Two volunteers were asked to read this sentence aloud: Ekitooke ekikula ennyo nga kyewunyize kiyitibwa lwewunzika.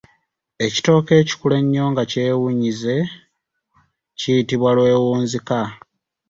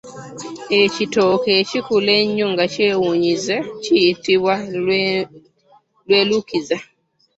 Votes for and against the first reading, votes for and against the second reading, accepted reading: 2, 0, 0, 2, first